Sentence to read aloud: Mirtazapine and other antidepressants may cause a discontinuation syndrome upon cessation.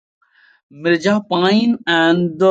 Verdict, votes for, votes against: rejected, 0, 2